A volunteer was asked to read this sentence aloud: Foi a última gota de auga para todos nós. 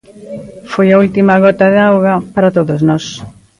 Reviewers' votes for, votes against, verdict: 2, 0, accepted